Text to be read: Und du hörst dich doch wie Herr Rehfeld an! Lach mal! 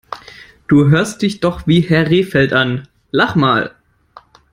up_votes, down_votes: 1, 2